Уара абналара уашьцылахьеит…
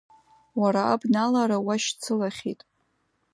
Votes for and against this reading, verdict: 2, 0, accepted